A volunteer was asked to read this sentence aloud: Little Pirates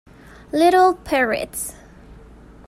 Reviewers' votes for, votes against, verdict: 1, 2, rejected